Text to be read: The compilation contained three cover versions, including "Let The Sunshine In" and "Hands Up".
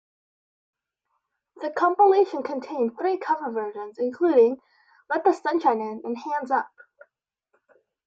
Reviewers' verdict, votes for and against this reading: accepted, 2, 0